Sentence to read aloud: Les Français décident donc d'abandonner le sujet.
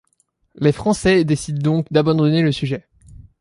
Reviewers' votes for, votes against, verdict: 2, 0, accepted